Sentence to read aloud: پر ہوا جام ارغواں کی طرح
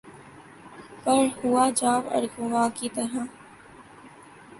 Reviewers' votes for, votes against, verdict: 5, 0, accepted